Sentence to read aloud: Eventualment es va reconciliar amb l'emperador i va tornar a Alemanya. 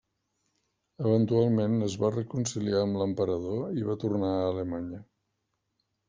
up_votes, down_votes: 3, 1